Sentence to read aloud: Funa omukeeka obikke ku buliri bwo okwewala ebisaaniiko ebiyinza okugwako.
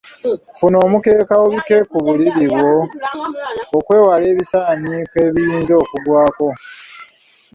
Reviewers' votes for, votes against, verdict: 2, 0, accepted